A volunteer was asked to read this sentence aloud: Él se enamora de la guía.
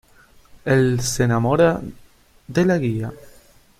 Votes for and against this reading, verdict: 2, 0, accepted